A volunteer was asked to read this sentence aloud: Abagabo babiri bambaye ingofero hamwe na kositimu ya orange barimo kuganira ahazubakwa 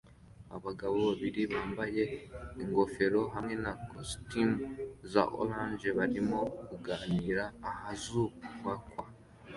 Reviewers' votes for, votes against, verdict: 2, 1, accepted